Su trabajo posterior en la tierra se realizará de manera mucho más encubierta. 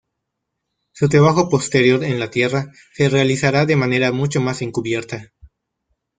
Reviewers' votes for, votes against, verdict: 2, 1, accepted